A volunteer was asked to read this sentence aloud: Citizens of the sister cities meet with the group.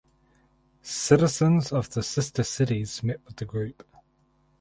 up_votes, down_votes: 2, 2